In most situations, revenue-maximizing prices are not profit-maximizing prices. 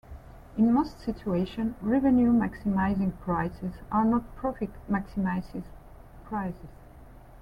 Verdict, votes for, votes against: rejected, 0, 2